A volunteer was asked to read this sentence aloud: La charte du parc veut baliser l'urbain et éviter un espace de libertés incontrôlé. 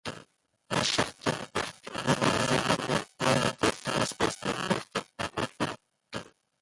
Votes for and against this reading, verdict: 0, 2, rejected